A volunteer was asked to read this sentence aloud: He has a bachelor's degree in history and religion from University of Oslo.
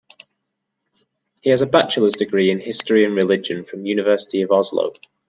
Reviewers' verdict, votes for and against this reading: accepted, 2, 0